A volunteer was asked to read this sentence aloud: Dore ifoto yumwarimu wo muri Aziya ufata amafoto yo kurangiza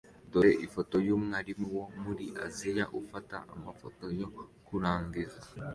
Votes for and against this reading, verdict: 2, 0, accepted